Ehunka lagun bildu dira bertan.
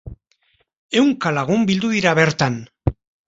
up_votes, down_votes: 2, 0